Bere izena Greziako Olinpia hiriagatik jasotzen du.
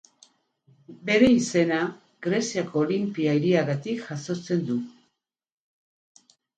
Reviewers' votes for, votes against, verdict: 8, 0, accepted